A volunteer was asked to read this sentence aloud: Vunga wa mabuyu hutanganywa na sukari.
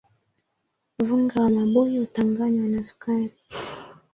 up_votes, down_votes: 2, 1